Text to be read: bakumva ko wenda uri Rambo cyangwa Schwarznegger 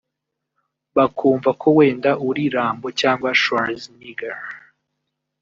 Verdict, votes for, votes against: rejected, 1, 2